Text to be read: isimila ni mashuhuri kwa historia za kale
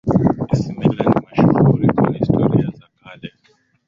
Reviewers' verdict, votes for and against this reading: rejected, 0, 2